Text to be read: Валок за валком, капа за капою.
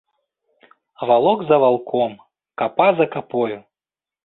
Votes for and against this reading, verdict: 2, 0, accepted